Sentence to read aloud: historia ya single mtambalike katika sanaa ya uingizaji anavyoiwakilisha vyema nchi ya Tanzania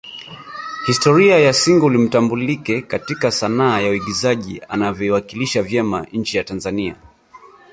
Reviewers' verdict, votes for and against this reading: rejected, 2, 3